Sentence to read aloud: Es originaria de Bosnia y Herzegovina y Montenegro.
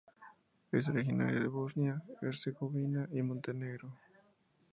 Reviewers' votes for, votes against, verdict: 2, 0, accepted